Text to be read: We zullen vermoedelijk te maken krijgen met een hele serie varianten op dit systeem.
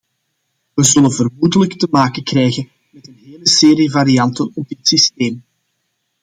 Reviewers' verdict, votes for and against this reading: accepted, 2, 1